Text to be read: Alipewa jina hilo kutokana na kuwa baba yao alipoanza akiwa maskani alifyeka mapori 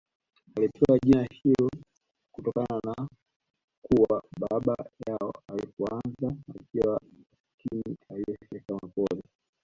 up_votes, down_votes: 0, 2